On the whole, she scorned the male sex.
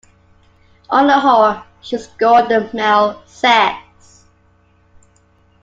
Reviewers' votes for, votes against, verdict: 2, 0, accepted